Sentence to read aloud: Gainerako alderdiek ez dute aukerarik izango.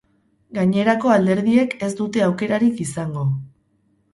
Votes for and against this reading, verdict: 0, 2, rejected